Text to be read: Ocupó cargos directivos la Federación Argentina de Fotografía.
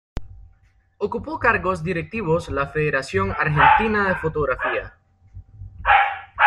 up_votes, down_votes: 2, 1